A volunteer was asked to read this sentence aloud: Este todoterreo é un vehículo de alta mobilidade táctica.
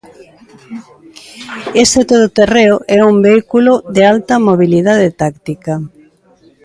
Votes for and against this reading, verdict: 2, 0, accepted